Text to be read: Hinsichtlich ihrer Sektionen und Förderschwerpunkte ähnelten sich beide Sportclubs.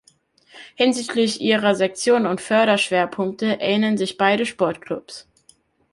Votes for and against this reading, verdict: 1, 2, rejected